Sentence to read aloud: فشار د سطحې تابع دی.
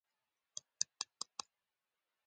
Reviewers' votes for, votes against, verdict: 1, 2, rejected